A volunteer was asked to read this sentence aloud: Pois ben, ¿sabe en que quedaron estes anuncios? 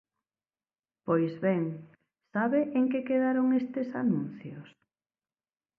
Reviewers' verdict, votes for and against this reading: accepted, 2, 0